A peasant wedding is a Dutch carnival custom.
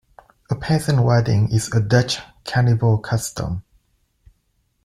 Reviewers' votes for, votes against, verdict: 0, 2, rejected